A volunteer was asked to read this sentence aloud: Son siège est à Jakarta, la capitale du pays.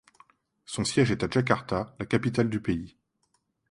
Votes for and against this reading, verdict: 2, 0, accepted